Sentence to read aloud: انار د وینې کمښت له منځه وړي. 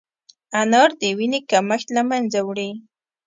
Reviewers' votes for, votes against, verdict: 2, 0, accepted